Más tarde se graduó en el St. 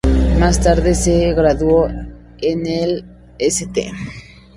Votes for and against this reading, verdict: 2, 0, accepted